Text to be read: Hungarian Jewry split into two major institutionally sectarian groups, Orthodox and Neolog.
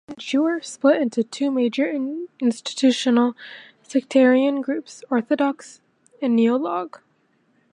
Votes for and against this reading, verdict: 0, 2, rejected